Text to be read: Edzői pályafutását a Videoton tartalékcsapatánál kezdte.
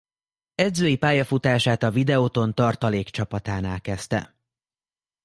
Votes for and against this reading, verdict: 2, 0, accepted